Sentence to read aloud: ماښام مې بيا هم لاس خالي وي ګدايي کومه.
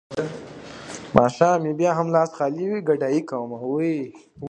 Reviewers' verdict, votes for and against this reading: accepted, 2, 0